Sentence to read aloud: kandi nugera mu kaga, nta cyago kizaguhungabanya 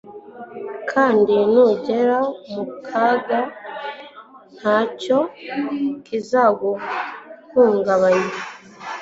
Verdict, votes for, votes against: rejected, 1, 2